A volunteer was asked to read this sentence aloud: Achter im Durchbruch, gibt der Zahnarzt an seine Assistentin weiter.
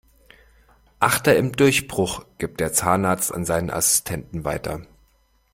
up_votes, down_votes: 1, 2